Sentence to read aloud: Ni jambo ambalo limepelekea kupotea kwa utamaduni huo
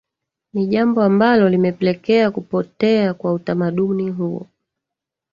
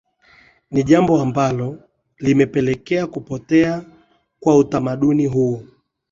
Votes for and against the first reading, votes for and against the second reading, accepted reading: 1, 2, 2, 0, second